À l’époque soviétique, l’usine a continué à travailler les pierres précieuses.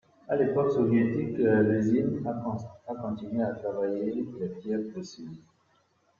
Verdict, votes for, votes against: rejected, 0, 2